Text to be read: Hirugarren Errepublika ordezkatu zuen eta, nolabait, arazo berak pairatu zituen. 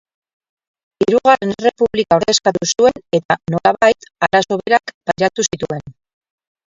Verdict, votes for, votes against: rejected, 0, 2